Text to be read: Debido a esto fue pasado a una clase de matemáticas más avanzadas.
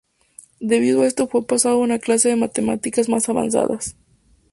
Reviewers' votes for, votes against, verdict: 4, 0, accepted